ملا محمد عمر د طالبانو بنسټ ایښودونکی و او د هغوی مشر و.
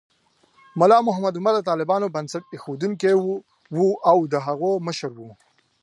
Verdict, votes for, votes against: accepted, 2, 0